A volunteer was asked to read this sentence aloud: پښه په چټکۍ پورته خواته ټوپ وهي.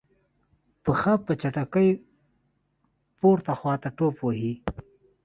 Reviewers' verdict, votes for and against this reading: accepted, 2, 0